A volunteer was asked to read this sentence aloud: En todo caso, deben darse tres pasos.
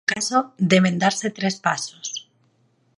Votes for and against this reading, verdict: 2, 4, rejected